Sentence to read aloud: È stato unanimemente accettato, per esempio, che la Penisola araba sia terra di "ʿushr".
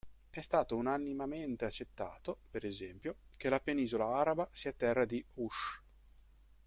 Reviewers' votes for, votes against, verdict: 0, 2, rejected